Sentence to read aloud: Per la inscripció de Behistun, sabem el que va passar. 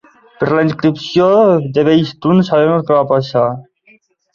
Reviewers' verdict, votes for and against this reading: accepted, 2, 1